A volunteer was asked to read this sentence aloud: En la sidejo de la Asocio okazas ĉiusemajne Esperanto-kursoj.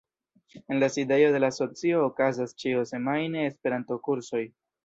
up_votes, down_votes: 2, 0